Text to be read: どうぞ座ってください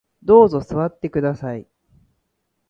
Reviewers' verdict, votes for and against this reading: accepted, 3, 0